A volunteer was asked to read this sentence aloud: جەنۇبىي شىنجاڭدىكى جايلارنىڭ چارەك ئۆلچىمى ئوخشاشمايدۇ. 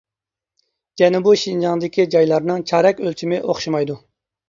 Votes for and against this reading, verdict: 0, 2, rejected